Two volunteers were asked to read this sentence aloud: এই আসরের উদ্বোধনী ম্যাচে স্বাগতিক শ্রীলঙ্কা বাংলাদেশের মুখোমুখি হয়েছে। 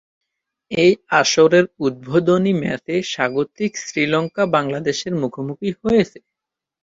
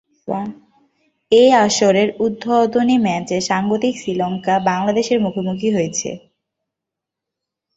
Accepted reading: first